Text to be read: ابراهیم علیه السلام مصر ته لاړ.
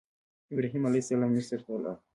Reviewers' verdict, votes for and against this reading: accepted, 2, 1